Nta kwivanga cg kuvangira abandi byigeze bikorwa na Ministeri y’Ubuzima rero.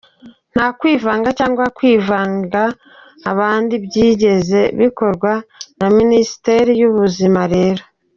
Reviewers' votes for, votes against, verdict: 0, 2, rejected